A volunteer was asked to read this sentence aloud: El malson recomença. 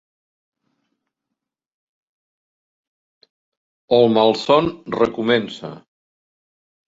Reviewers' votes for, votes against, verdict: 2, 0, accepted